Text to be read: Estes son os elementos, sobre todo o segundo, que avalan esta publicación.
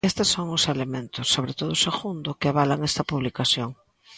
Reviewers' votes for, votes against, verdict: 1, 2, rejected